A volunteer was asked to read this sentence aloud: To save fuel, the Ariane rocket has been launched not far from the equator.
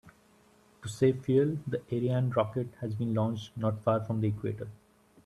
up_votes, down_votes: 2, 0